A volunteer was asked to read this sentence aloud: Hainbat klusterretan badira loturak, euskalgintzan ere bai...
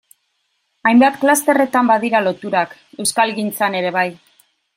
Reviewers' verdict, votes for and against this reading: rejected, 1, 2